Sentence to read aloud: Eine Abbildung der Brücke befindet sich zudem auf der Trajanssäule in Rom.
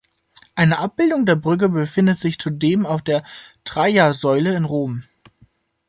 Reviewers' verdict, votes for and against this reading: rejected, 0, 2